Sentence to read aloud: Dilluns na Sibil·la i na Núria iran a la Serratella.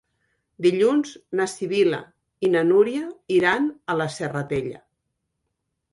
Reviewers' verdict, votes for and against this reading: accepted, 4, 0